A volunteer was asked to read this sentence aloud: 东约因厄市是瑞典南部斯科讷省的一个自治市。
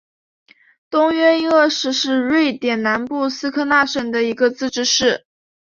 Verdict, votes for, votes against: accepted, 2, 0